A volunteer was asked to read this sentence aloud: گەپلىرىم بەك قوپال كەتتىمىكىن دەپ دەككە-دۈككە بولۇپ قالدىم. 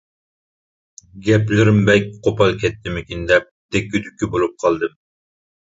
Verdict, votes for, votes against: accepted, 2, 0